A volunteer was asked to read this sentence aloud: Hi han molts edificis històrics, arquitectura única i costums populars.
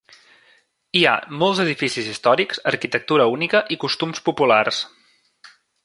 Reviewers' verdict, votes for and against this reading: rejected, 1, 2